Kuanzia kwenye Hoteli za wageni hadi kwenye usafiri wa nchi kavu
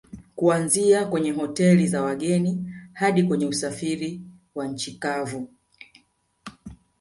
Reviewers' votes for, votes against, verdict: 2, 0, accepted